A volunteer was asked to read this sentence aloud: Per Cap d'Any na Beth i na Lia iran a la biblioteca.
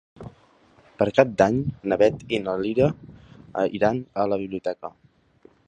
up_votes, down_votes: 1, 2